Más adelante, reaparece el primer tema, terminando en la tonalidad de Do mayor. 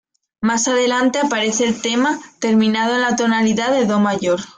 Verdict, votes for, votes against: rejected, 0, 2